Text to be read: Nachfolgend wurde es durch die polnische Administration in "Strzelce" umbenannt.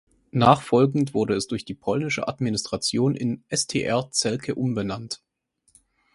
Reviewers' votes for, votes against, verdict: 0, 2, rejected